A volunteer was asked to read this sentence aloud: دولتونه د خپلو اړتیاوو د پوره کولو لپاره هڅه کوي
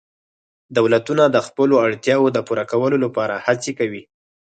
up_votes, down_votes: 4, 0